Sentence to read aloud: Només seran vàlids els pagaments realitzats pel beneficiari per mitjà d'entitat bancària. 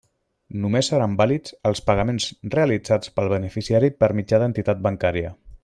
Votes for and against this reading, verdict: 2, 0, accepted